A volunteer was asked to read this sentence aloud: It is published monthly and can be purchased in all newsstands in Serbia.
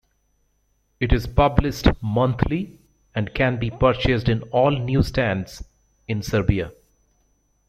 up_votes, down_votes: 2, 0